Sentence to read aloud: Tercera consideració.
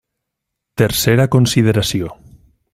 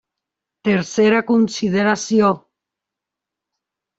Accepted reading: first